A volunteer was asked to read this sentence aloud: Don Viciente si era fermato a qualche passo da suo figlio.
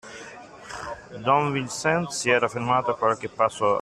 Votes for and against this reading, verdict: 0, 2, rejected